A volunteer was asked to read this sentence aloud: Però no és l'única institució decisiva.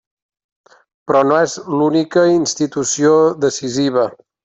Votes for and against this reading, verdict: 3, 0, accepted